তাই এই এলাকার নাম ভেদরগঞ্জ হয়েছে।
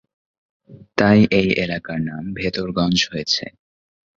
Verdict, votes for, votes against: accepted, 6, 0